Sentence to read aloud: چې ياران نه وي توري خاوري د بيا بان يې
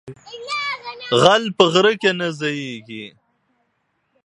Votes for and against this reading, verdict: 0, 2, rejected